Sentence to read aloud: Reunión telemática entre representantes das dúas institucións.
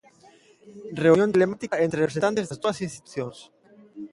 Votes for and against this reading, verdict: 0, 2, rejected